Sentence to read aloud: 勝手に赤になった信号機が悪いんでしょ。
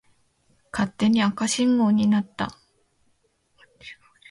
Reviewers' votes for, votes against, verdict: 0, 2, rejected